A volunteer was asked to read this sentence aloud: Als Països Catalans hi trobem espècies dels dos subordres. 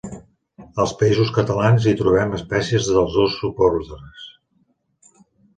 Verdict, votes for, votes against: accepted, 3, 0